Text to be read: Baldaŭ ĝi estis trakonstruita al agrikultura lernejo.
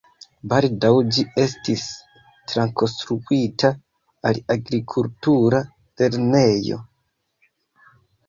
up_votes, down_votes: 2, 3